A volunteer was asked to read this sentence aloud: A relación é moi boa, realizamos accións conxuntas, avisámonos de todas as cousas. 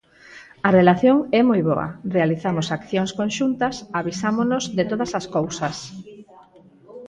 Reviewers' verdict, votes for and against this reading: accepted, 4, 0